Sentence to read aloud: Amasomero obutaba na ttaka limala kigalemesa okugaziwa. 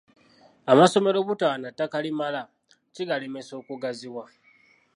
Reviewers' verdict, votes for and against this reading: accepted, 2, 0